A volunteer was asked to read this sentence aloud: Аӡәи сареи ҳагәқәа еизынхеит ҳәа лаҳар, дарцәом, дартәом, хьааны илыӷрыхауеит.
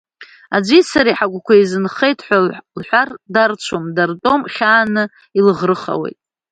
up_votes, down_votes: 0, 2